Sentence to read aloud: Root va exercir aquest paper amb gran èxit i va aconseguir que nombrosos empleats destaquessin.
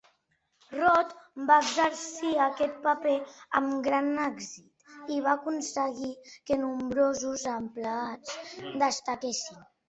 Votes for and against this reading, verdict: 2, 3, rejected